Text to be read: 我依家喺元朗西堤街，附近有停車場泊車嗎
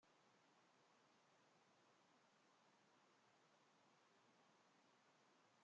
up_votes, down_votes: 0, 2